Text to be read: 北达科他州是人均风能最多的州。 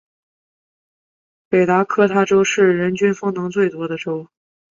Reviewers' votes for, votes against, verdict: 2, 0, accepted